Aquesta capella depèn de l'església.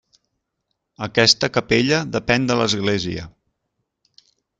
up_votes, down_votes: 3, 0